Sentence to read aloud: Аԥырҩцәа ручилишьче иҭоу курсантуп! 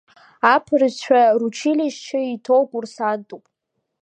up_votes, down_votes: 1, 2